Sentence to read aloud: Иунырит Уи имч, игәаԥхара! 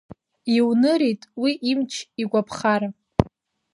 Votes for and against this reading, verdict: 2, 1, accepted